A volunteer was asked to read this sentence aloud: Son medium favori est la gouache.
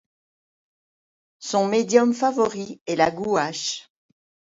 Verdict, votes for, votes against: accepted, 2, 0